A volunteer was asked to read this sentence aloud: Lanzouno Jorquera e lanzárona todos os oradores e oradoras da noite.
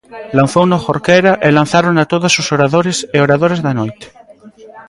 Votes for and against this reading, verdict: 2, 0, accepted